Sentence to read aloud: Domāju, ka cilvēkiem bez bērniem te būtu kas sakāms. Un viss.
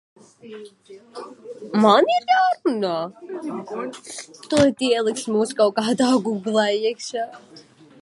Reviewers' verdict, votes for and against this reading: rejected, 0, 2